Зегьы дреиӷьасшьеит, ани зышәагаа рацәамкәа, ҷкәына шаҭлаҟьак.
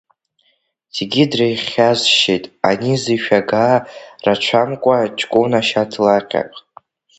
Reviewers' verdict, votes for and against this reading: rejected, 0, 2